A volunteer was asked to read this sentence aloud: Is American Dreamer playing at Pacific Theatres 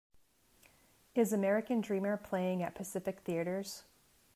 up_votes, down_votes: 2, 0